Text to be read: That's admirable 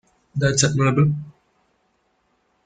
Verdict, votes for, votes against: accepted, 2, 1